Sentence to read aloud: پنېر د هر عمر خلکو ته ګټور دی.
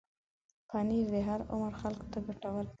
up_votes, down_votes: 1, 2